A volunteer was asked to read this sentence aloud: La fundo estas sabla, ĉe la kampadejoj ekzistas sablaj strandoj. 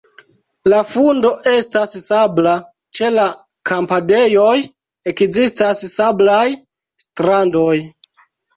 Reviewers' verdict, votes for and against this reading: rejected, 0, 2